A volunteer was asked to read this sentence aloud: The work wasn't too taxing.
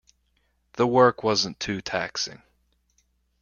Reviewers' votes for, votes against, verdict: 2, 0, accepted